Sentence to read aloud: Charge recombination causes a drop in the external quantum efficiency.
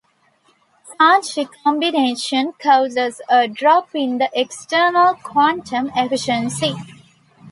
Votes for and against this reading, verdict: 2, 0, accepted